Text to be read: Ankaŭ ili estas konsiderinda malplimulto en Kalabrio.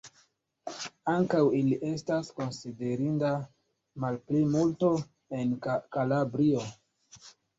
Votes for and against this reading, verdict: 1, 2, rejected